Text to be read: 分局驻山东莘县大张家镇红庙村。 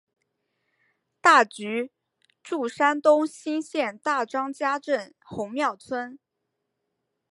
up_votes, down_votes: 2, 1